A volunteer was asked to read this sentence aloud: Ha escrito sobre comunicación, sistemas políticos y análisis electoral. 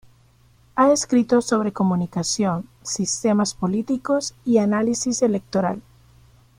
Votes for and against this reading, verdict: 2, 0, accepted